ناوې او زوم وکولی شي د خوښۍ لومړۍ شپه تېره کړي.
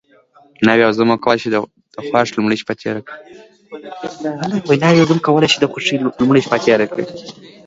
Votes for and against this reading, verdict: 2, 1, accepted